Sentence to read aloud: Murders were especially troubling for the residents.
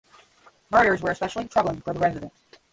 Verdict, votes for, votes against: rejected, 0, 5